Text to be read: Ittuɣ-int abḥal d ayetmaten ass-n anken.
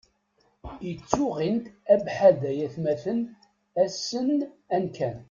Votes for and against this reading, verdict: 0, 2, rejected